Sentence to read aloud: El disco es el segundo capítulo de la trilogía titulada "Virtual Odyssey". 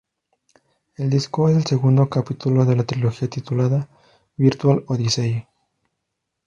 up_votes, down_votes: 2, 0